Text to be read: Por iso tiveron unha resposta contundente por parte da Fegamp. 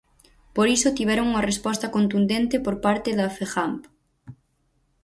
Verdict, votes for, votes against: accepted, 4, 0